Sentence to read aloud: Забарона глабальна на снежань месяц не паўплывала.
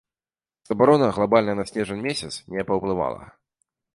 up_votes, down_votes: 2, 0